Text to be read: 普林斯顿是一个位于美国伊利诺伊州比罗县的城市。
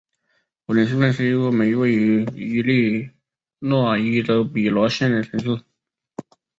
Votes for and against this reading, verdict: 0, 2, rejected